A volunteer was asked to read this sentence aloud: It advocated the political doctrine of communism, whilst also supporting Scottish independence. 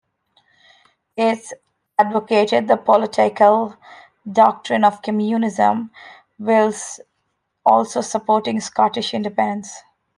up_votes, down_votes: 0, 2